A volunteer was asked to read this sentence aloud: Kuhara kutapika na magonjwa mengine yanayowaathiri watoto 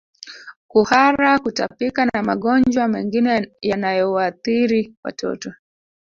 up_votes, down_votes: 1, 2